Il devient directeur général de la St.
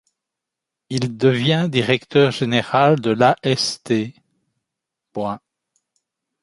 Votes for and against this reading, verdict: 1, 2, rejected